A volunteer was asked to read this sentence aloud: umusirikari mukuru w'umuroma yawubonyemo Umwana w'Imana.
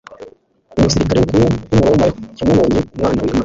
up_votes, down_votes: 1, 2